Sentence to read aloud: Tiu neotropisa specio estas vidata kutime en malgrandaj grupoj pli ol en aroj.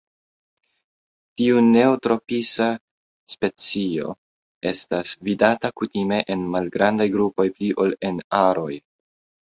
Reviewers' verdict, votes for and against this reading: accepted, 3, 0